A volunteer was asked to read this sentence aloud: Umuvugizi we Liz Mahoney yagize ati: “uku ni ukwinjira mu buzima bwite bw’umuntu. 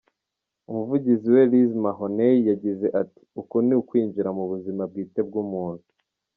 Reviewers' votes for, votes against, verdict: 2, 0, accepted